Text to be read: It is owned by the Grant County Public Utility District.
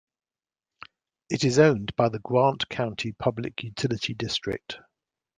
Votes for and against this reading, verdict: 2, 1, accepted